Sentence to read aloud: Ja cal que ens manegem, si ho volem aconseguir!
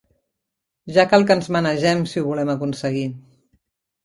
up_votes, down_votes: 0, 2